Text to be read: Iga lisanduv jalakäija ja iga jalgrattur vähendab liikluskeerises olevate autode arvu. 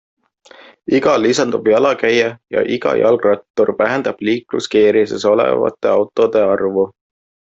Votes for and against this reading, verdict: 2, 0, accepted